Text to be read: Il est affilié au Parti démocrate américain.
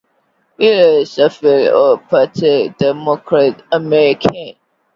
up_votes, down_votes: 2, 0